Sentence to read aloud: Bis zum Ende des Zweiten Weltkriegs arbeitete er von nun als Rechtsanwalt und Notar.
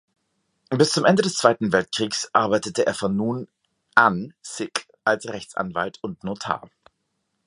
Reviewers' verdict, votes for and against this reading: rejected, 0, 2